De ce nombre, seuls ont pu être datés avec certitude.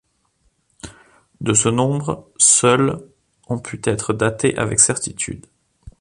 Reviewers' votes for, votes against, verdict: 2, 3, rejected